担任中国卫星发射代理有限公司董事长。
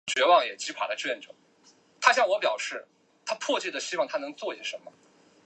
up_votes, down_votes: 0, 4